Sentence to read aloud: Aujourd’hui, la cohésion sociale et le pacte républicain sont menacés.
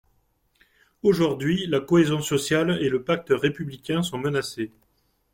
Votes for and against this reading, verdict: 2, 0, accepted